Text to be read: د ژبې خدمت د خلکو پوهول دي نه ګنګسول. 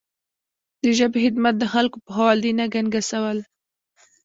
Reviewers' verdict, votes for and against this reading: rejected, 1, 2